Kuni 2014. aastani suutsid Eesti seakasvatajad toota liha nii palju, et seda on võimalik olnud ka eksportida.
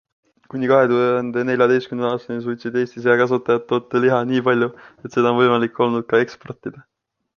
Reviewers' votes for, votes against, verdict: 0, 2, rejected